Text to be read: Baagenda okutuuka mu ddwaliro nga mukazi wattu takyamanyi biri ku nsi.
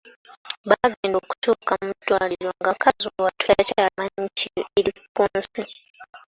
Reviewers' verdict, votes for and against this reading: rejected, 1, 2